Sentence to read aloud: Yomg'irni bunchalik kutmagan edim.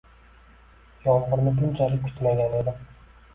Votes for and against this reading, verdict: 2, 1, accepted